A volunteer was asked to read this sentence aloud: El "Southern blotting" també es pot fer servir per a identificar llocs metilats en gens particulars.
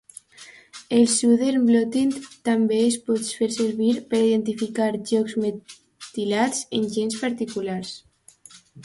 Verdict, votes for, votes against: accepted, 2, 0